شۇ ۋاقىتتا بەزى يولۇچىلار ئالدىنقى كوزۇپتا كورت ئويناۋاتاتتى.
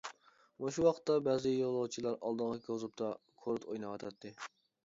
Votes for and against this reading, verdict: 0, 2, rejected